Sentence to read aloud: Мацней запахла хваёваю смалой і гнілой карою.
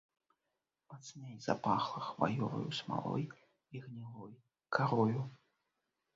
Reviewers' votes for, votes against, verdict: 2, 0, accepted